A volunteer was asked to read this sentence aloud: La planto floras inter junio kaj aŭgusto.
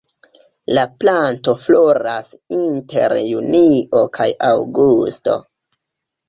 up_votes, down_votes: 3, 0